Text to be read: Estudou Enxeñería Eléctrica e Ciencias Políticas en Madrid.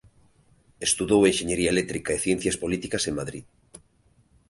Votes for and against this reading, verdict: 2, 0, accepted